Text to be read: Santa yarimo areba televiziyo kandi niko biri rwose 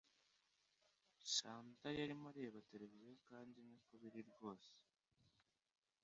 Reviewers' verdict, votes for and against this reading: rejected, 1, 2